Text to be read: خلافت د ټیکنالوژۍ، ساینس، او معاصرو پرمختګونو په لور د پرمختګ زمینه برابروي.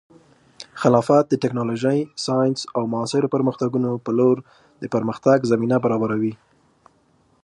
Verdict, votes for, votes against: rejected, 0, 2